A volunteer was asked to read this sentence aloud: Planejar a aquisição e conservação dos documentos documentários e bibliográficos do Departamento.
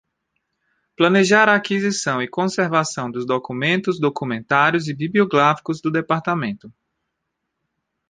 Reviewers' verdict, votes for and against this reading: rejected, 0, 2